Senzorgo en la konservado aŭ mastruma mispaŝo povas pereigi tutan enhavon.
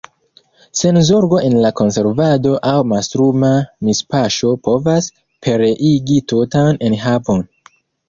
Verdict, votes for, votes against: accepted, 2, 0